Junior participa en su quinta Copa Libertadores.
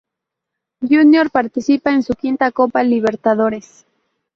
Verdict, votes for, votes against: accepted, 2, 0